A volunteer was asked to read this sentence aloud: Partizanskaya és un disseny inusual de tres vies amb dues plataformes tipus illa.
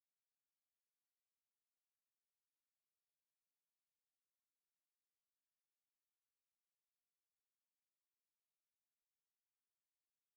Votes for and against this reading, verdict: 0, 2, rejected